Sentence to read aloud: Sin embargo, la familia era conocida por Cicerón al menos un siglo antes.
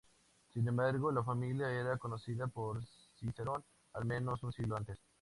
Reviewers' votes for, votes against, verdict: 4, 0, accepted